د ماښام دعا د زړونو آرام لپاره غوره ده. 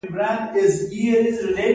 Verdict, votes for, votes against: accepted, 2, 1